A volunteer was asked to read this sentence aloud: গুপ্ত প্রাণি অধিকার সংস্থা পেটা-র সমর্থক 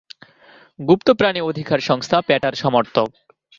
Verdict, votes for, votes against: rejected, 1, 2